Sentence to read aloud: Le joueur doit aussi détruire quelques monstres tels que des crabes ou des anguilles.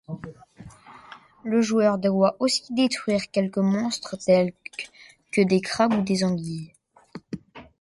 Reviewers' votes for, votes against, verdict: 2, 0, accepted